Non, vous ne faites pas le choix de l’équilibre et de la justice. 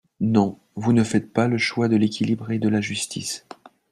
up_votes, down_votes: 3, 0